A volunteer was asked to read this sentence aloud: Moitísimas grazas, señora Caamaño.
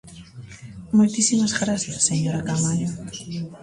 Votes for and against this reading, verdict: 2, 0, accepted